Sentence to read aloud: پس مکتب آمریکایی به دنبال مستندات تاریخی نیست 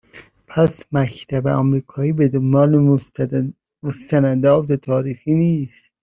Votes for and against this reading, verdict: 0, 2, rejected